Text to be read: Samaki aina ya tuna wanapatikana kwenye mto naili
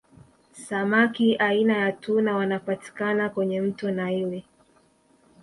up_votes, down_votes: 0, 2